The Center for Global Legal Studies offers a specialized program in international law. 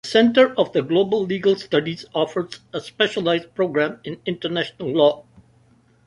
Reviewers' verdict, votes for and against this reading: rejected, 0, 2